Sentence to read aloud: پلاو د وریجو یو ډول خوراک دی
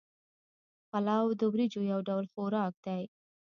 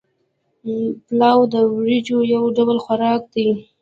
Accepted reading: second